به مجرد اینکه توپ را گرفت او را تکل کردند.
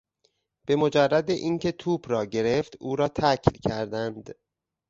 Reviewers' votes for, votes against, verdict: 0, 2, rejected